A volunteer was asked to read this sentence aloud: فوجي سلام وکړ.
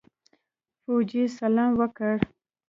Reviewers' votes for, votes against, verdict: 2, 0, accepted